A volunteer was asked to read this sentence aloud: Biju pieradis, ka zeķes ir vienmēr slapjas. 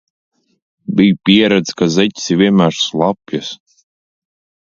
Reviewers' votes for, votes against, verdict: 2, 0, accepted